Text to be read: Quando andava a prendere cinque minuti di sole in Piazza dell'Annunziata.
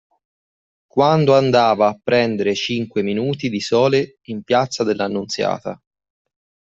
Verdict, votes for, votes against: accepted, 2, 0